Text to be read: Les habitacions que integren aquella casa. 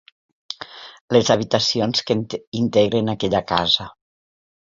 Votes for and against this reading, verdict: 0, 2, rejected